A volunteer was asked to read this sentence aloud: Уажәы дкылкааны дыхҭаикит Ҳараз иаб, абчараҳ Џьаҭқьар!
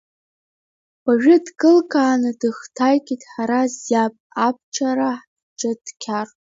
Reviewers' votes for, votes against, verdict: 2, 0, accepted